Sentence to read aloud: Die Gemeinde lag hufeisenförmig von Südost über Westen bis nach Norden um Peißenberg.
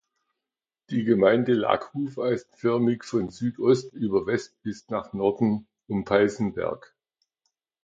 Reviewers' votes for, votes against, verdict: 2, 1, accepted